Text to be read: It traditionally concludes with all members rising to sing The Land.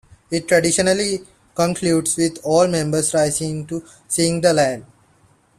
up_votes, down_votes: 2, 0